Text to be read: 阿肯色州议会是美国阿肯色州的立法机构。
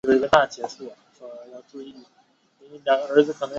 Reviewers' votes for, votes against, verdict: 2, 1, accepted